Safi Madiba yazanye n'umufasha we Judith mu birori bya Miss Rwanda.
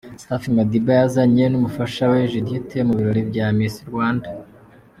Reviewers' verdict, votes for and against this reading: accepted, 3, 0